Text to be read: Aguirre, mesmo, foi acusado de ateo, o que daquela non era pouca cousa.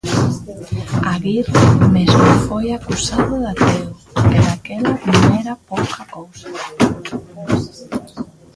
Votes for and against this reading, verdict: 0, 2, rejected